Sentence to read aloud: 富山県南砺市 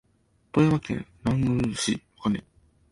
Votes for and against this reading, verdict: 0, 2, rejected